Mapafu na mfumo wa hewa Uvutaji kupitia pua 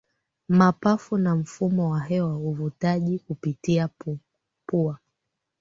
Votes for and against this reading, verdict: 2, 0, accepted